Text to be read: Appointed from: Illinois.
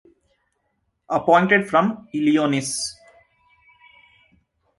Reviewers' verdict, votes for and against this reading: rejected, 0, 2